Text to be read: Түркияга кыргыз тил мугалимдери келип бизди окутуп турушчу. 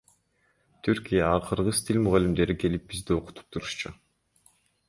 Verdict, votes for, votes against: rejected, 1, 2